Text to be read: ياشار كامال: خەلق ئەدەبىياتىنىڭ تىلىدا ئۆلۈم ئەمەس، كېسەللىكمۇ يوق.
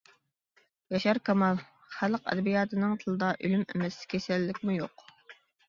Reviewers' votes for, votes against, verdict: 2, 0, accepted